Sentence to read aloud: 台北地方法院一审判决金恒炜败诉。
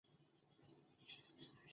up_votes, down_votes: 0, 2